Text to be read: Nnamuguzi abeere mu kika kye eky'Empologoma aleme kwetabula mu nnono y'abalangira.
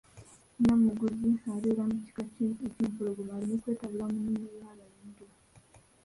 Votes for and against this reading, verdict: 1, 4, rejected